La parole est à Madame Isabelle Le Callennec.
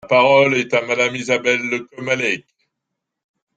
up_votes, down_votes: 0, 2